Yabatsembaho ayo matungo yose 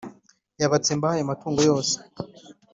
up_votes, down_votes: 4, 0